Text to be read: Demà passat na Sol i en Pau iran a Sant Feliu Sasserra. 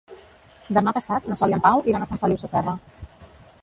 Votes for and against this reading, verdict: 1, 2, rejected